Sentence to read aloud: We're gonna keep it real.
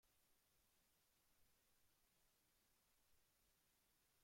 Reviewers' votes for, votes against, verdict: 0, 2, rejected